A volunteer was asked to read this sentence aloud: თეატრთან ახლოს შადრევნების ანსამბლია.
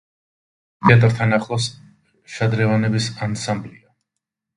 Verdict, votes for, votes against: rejected, 1, 2